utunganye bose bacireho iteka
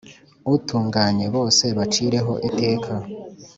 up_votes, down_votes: 3, 0